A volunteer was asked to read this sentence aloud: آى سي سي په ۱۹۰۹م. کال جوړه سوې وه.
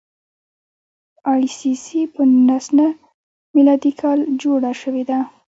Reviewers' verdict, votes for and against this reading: rejected, 0, 2